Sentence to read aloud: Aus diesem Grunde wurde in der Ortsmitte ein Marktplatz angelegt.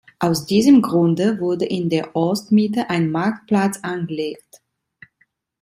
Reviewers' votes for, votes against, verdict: 2, 0, accepted